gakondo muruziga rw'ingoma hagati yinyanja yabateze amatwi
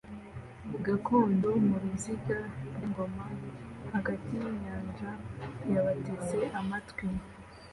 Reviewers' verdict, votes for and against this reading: accepted, 2, 0